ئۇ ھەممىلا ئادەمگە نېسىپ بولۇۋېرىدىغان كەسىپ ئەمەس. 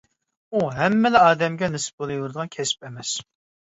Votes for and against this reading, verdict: 2, 0, accepted